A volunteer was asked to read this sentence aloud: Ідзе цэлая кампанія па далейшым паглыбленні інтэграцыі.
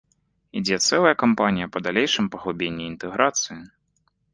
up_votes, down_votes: 1, 2